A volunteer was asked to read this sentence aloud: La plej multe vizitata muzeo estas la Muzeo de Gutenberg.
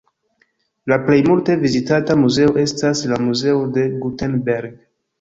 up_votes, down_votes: 2, 0